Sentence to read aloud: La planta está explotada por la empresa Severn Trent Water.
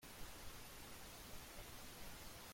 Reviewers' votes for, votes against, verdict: 0, 2, rejected